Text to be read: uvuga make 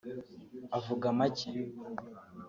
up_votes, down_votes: 0, 2